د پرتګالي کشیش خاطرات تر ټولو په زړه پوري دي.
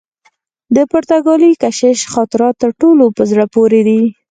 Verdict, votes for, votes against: rejected, 0, 4